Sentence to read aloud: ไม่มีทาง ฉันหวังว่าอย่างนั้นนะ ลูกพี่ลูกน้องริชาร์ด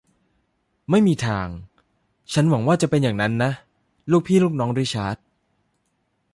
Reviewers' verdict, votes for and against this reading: rejected, 0, 2